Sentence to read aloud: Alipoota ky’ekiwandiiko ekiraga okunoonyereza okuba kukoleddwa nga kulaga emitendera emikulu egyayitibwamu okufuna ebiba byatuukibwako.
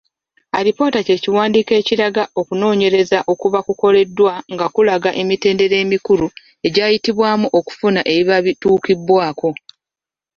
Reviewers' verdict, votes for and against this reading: rejected, 1, 2